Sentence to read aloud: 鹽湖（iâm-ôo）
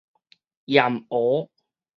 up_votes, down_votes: 2, 2